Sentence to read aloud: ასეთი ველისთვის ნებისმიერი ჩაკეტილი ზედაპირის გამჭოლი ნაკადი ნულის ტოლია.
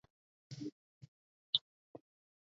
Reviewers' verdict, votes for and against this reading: rejected, 0, 2